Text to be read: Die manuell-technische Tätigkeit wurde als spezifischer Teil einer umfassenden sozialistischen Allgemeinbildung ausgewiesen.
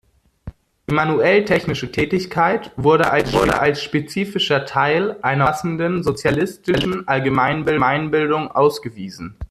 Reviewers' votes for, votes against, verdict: 0, 2, rejected